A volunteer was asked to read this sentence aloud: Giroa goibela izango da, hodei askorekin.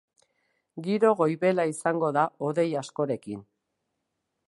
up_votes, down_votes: 0, 2